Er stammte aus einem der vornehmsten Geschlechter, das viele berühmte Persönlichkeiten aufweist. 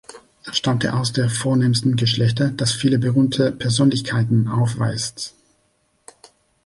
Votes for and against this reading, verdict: 0, 2, rejected